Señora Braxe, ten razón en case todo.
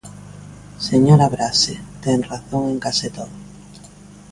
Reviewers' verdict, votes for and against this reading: accepted, 2, 0